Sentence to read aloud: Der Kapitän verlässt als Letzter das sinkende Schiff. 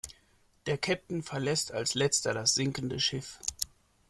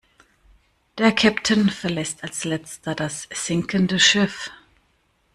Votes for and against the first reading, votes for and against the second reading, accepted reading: 2, 1, 1, 2, first